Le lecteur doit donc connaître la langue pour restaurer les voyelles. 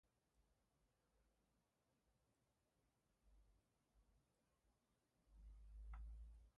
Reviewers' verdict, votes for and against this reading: rejected, 0, 2